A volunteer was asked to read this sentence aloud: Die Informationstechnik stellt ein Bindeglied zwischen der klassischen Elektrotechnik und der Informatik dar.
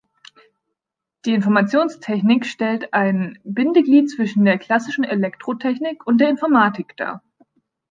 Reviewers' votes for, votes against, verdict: 2, 0, accepted